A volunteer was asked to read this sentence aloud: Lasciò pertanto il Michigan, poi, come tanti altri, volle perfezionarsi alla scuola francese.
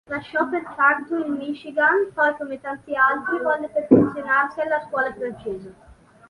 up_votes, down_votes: 2, 0